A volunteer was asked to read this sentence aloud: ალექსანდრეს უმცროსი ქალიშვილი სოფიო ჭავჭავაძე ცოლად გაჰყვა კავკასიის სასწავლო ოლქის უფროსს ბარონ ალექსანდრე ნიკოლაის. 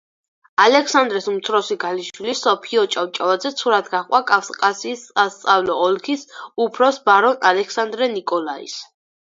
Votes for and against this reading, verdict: 4, 2, accepted